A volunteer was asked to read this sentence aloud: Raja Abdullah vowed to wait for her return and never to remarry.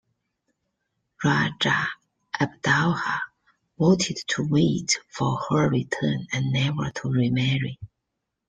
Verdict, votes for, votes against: rejected, 0, 2